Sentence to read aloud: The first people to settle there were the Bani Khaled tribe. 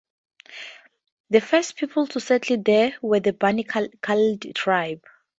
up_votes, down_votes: 2, 0